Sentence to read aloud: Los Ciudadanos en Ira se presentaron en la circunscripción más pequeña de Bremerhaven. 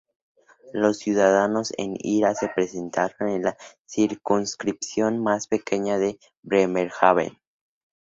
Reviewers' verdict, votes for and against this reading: accepted, 2, 0